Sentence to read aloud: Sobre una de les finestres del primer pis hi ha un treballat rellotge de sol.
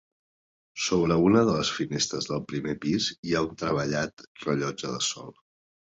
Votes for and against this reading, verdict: 2, 0, accepted